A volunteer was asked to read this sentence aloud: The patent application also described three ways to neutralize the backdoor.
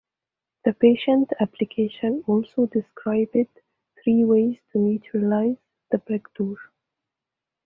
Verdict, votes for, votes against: rejected, 1, 2